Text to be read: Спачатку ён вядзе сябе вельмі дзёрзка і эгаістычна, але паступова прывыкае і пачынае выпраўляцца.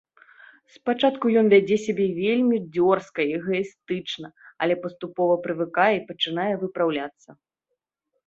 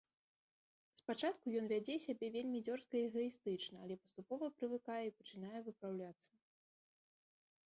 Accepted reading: first